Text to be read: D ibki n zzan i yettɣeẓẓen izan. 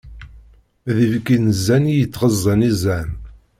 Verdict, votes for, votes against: accepted, 2, 0